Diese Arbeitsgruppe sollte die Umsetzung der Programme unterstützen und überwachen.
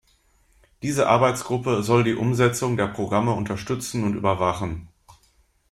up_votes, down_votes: 0, 2